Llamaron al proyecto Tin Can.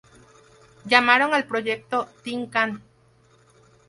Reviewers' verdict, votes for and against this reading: rejected, 2, 2